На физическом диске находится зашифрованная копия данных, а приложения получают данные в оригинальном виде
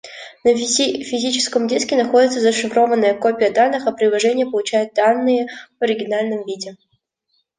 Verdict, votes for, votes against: rejected, 1, 2